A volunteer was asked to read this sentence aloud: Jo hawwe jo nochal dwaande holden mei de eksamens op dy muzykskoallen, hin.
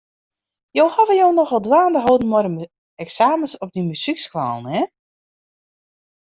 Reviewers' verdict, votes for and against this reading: rejected, 0, 2